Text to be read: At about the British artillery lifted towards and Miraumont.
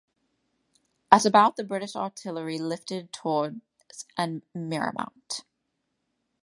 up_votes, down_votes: 2, 0